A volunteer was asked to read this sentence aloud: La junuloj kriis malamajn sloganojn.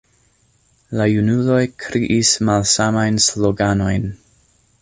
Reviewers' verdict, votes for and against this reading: rejected, 0, 2